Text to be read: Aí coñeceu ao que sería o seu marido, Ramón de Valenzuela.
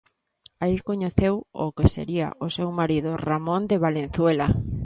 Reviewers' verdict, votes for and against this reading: accepted, 2, 0